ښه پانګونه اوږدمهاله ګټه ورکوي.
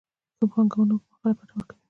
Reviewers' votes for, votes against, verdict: 2, 0, accepted